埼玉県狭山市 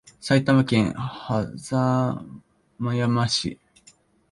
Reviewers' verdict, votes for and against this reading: rejected, 1, 2